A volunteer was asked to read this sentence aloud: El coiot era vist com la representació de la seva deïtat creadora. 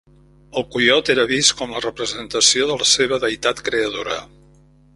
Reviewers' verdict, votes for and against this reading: accepted, 2, 0